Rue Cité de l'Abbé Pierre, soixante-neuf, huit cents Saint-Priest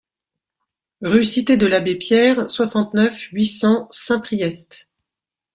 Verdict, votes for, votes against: accepted, 2, 0